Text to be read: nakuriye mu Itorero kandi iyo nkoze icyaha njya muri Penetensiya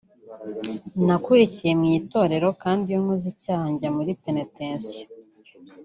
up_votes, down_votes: 0, 2